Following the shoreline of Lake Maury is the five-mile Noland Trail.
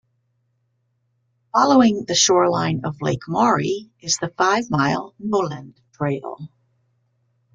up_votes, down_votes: 2, 0